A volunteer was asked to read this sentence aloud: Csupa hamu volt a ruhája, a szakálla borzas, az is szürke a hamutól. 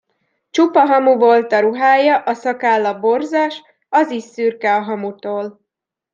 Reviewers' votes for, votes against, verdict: 2, 0, accepted